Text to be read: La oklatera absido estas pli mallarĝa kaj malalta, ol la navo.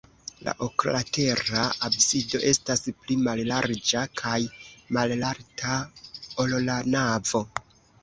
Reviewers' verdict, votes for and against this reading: accepted, 2, 1